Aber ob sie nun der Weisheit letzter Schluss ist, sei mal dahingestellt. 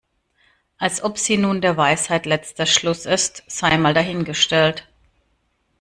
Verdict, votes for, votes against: rejected, 0, 2